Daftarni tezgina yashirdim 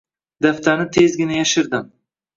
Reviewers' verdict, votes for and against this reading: accepted, 2, 0